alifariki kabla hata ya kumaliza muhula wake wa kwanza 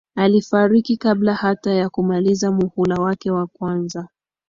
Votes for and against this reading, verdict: 2, 0, accepted